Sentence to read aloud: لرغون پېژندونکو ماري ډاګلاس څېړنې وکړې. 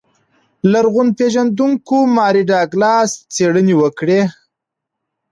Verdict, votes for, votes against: accepted, 2, 0